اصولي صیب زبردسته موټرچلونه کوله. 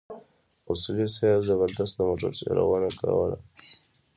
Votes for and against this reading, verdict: 0, 2, rejected